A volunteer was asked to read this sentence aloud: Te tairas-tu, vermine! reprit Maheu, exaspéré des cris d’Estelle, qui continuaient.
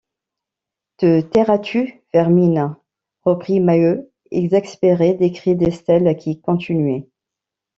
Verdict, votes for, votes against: rejected, 1, 2